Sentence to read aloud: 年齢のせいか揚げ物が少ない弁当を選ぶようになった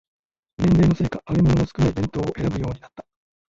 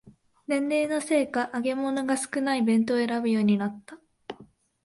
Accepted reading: second